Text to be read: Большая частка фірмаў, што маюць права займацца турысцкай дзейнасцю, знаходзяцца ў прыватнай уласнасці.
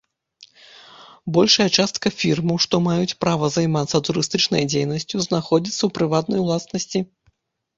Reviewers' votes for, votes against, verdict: 0, 2, rejected